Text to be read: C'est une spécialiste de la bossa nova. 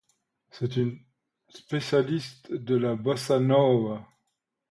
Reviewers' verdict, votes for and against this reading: accepted, 2, 0